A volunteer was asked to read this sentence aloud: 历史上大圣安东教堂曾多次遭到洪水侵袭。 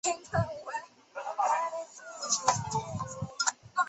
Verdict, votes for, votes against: rejected, 1, 2